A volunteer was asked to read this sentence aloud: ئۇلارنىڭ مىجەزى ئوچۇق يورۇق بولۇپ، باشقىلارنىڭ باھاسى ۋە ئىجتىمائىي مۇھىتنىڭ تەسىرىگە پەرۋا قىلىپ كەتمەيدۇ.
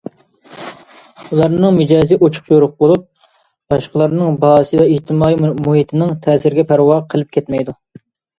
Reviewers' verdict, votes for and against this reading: accepted, 2, 1